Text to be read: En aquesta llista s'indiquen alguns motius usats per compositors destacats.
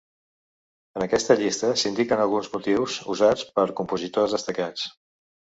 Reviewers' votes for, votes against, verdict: 4, 0, accepted